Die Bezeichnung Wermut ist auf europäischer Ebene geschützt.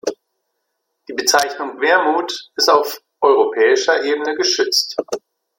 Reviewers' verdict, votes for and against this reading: rejected, 1, 2